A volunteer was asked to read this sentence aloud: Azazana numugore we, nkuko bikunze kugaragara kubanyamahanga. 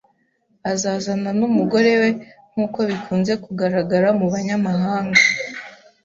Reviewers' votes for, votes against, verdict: 1, 2, rejected